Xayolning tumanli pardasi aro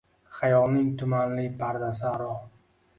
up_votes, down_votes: 2, 0